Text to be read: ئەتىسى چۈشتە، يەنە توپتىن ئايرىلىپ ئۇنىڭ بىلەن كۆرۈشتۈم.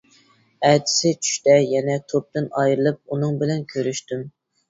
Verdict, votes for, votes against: accepted, 2, 0